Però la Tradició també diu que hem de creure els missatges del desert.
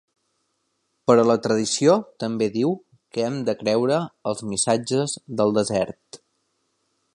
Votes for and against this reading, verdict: 3, 0, accepted